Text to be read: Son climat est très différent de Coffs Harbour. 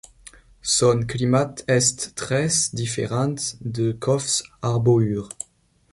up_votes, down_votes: 0, 2